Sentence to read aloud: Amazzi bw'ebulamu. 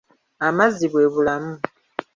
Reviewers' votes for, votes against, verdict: 2, 0, accepted